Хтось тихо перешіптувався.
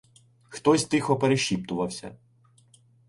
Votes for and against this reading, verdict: 2, 1, accepted